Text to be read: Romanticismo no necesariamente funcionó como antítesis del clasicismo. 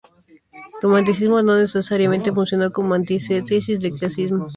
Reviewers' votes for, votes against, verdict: 0, 4, rejected